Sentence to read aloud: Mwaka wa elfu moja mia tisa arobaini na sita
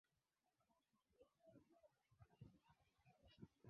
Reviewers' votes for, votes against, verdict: 1, 6, rejected